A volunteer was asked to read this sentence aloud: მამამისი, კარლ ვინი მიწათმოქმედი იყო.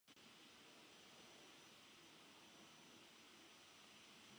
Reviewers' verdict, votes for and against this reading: rejected, 0, 2